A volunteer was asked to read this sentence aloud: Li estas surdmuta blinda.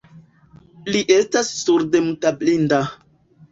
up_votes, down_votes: 1, 2